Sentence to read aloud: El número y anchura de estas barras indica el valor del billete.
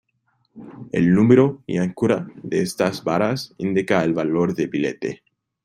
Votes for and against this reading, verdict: 0, 2, rejected